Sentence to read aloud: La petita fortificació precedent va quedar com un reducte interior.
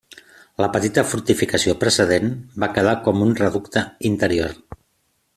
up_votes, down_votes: 3, 0